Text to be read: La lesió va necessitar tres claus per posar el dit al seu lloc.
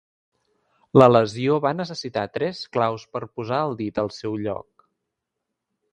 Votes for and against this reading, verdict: 3, 0, accepted